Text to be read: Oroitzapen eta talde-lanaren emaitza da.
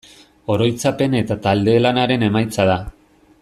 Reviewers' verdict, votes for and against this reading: accepted, 2, 0